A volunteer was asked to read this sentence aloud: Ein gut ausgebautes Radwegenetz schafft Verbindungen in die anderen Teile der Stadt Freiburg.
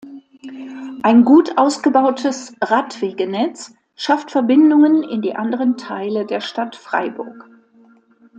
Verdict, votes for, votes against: accepted, 2, 0